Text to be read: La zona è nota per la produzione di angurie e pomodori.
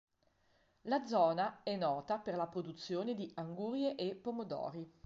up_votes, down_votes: 2, 0